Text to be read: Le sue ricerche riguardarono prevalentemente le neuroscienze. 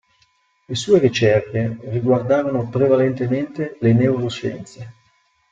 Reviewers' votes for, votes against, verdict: 2, 0, accepted